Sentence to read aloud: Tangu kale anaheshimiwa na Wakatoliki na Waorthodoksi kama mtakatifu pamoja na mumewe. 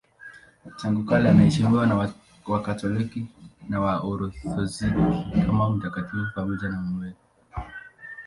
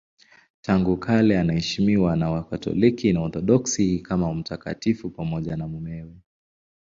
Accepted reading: second